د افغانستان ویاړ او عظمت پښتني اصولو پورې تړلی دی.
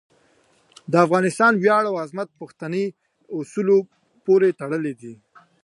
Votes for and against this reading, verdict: 2, 1, accepted